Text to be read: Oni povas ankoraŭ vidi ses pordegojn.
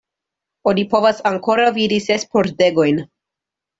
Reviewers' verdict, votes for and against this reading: accepted, 2, 0